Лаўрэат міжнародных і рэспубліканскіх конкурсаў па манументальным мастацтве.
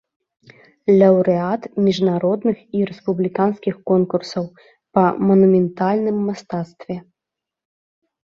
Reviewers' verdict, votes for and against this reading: rejected, 0, 2